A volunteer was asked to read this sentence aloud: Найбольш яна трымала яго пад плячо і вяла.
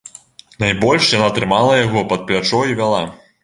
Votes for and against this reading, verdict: 2, 0, accepted